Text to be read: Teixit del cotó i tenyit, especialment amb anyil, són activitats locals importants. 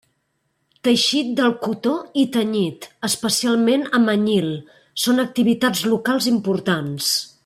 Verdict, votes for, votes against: accepted, 3, 0